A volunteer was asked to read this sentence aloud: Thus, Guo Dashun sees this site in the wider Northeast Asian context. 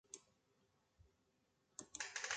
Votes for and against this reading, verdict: 0, 2, rejected